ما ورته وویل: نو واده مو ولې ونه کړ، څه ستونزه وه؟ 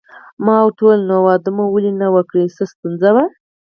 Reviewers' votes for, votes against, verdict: 2, 4, rejected